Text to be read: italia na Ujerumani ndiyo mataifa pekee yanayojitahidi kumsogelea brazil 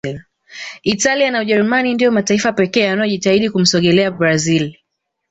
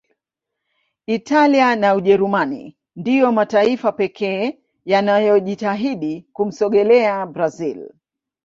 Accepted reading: first